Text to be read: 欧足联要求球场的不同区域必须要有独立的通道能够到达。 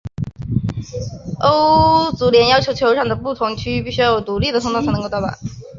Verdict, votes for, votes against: rejected, 1, 2